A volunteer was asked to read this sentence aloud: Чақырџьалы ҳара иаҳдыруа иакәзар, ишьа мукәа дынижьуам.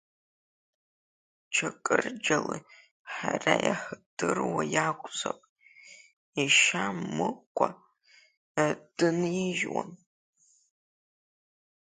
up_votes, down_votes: 1, 2